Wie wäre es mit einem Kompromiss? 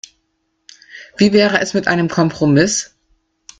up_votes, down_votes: 2, 0